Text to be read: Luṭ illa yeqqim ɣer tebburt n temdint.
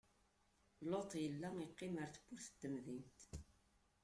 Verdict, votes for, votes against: rejected, 0, 2